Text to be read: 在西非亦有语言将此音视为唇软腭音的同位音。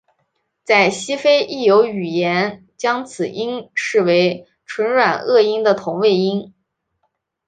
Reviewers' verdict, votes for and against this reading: accepted, 4, 0